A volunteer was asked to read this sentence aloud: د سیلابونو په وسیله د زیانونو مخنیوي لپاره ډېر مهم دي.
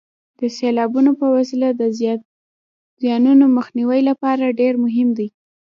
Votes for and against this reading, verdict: 1, 2, rejected